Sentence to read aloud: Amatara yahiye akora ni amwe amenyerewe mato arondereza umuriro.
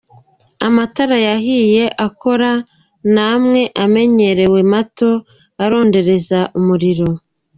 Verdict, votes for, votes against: accepted, 2, 0